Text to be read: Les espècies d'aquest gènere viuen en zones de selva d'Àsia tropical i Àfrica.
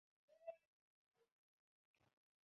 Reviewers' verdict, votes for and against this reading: rejected, 0, 2